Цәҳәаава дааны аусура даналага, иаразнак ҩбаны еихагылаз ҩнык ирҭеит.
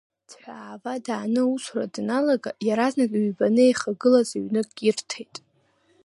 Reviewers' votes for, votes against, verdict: 2, 1, accepted